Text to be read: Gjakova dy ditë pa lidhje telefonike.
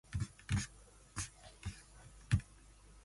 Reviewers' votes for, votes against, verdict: 0, 2, rejected